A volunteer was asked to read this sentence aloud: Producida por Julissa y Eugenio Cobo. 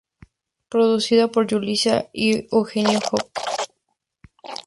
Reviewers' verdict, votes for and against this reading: rejected, 0, 2